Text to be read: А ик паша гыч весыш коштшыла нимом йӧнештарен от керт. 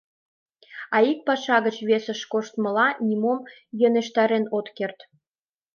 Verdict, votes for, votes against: rejected, 1, 2